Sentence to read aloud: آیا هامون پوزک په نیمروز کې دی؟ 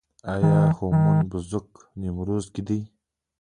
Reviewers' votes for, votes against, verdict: 3, 1, accepted